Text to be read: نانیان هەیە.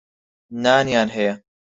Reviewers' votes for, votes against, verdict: 4, 0, accepted